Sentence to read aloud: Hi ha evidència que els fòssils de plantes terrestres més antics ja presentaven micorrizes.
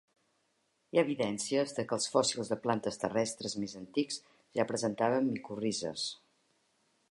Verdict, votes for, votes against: rejected, 2, 3